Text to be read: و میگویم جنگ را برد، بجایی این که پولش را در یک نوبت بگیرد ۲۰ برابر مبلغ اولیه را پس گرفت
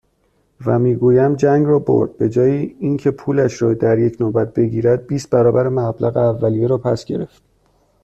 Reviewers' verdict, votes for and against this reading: rejected, 0, 2